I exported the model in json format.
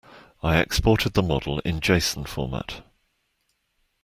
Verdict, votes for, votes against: accepted, 2, 0